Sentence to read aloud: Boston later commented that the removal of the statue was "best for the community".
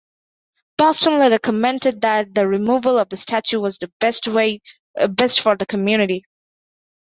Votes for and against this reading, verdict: 0, 2, rejected